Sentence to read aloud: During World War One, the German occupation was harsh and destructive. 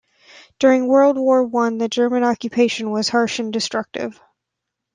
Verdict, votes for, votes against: accepted, 2, 0